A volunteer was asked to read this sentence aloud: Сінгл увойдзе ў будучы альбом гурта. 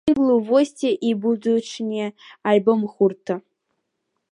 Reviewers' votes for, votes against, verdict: 0, 2, rejected